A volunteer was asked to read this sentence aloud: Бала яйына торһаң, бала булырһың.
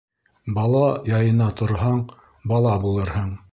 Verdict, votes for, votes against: accepted, 2, 0